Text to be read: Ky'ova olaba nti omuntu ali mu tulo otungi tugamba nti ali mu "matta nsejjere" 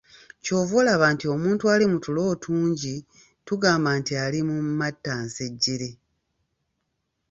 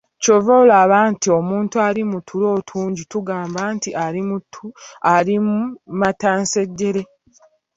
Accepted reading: first